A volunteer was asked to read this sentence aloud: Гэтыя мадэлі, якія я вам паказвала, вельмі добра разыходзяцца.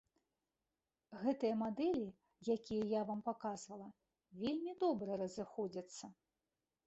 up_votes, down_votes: 2, 0